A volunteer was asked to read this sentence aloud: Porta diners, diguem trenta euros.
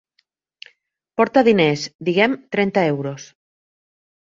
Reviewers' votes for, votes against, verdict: 3, 0, accepted